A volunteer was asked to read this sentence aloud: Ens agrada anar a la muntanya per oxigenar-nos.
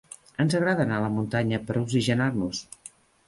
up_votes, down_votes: 3, 0